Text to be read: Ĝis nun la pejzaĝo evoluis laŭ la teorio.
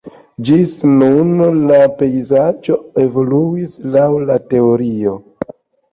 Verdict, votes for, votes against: accepted, 2, 0